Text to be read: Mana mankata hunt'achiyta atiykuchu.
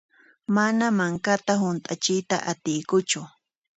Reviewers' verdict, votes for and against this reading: accepted, 2, 0